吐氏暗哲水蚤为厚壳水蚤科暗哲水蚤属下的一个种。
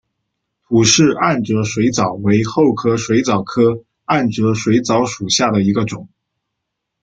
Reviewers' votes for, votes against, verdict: 2, 0, accepted